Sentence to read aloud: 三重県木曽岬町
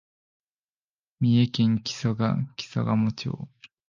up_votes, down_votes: 2, 4